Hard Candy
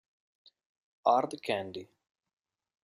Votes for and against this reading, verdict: 2, 1, accepted